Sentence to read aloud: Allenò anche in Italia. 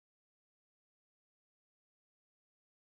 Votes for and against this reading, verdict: 0, 2, rejected